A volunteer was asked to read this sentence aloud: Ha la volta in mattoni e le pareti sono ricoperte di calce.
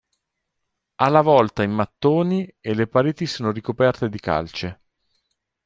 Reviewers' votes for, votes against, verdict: 2, 0, accepted